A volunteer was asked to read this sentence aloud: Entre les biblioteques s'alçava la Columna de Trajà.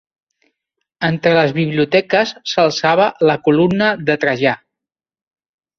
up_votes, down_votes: 2, 1